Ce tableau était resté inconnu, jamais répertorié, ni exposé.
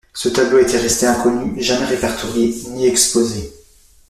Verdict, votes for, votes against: accepted, 2, 0